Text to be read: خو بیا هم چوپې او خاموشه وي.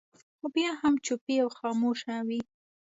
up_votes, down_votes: 2, 0